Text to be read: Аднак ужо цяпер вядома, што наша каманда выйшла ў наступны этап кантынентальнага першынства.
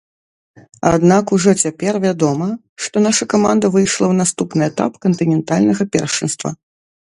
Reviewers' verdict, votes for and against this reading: rejected, 0, 2